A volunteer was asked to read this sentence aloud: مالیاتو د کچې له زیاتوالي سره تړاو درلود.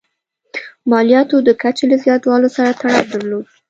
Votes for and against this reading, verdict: 2, 0, accepted